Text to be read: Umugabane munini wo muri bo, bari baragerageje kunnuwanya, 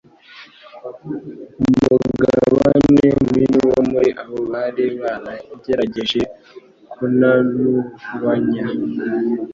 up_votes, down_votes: 1, 2